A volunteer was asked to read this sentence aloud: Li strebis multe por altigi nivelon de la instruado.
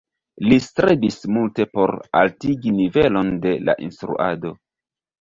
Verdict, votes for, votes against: accepted, 2, 0